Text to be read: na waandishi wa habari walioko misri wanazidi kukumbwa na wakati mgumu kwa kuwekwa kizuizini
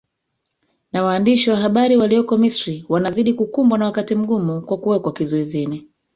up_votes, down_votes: 0, 2